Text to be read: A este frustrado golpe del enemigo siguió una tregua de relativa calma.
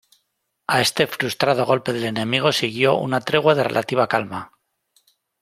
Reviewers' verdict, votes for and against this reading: accepted, 2, 0